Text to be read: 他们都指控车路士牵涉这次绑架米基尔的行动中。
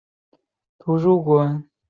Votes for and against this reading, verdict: 2, 1, accepted